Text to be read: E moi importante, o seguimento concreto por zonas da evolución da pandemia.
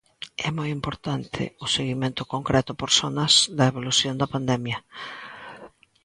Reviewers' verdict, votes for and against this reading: accepted, 2, 0